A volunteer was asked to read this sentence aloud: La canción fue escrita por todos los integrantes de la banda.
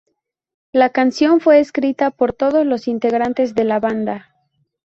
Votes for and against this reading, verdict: 4, 0, accepted